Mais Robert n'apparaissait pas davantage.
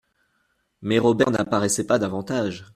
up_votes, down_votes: 2, 0